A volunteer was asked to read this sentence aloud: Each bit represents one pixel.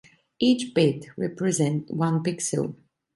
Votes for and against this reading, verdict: 0, 2, rejected